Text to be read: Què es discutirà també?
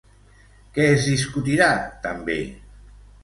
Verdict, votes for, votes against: accepted, 2, 0